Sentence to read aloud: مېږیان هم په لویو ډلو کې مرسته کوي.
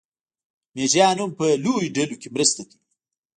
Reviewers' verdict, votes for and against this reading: rejected, 1, 2